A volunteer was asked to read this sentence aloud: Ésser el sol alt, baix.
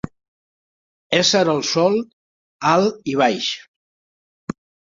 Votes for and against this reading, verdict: 0, 3, rejected